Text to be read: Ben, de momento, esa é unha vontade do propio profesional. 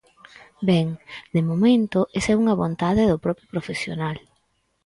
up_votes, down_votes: 6, 0